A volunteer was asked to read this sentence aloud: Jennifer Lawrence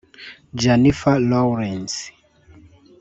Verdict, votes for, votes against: rejected, 0, 2